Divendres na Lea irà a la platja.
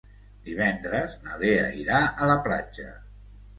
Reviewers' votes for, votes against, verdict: 2, 0, accepted